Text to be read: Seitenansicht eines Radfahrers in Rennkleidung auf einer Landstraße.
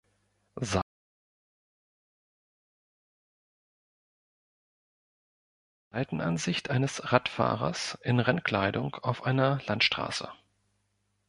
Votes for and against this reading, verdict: 1, 3, rejected